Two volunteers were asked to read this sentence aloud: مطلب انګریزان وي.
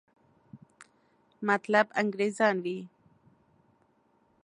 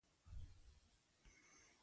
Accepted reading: first